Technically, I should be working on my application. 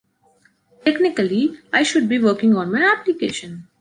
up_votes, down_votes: 2, 0